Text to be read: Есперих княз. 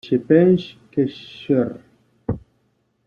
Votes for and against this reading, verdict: 1, 2, rejected